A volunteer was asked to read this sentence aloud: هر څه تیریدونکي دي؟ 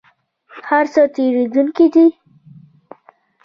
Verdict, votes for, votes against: rejected, 1, 2